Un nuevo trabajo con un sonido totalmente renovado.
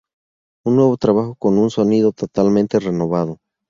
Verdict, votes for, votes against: accepted, 2, 0